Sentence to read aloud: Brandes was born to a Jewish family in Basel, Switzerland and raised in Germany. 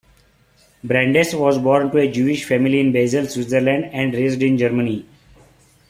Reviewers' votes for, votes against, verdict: 3, 1, accepted